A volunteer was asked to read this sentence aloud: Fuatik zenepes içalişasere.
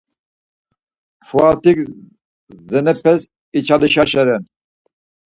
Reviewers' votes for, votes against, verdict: 2, 4, rejected